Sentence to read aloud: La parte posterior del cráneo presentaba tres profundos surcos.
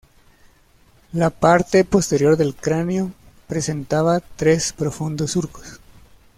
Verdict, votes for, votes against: accepted, 2, 1